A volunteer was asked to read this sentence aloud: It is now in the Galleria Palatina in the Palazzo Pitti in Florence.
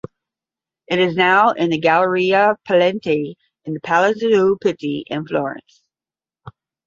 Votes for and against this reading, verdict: 0, 5, rejected